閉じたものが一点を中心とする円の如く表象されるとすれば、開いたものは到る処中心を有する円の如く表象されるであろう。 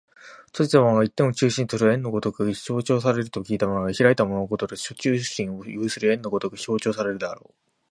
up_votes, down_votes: 0, 2